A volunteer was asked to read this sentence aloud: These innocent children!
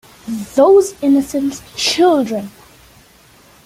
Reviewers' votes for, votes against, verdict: 1, 2, rejected